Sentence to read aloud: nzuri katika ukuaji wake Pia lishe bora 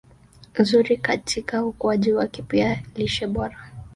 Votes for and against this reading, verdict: 0, 2, rejected